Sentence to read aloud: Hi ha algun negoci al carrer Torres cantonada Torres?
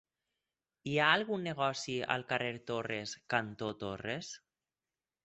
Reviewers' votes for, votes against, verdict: 0, 4, rejected